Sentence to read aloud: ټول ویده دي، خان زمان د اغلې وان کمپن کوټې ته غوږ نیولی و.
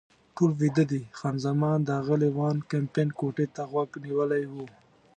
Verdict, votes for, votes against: accepted, 2, 0